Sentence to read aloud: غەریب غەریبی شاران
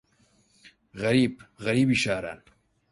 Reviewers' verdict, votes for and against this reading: accepted, 4, 0